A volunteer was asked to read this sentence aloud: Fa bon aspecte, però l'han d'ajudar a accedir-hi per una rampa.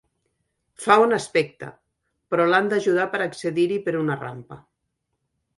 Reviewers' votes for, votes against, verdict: 3, 4, rejected